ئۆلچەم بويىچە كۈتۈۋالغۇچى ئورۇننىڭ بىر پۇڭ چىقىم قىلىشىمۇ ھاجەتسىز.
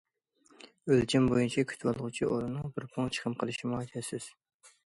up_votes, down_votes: 2, 0